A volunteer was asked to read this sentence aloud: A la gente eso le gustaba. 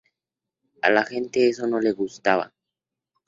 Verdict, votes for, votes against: rejected, 0, 2